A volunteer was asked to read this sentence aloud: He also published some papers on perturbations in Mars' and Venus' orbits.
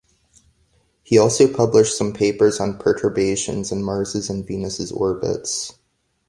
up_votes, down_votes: 2, 0